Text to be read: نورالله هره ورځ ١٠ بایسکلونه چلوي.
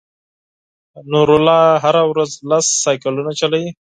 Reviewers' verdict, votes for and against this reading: rejected, 0, 2